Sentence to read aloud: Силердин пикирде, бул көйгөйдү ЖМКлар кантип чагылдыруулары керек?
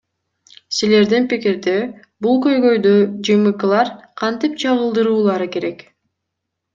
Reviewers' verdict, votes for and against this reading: accepted, 2, 0